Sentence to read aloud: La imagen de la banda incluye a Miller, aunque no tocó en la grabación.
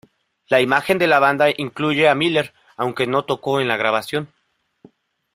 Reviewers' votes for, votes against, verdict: 2, 0, accepted